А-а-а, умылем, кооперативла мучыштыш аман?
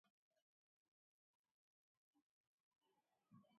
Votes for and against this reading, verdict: 2, 0, accepted